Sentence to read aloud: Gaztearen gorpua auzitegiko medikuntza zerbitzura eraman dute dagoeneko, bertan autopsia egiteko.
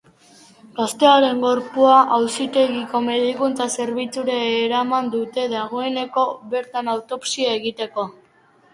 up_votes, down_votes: 2, 0